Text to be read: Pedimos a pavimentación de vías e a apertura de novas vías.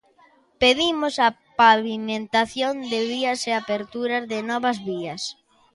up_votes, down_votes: 2, 0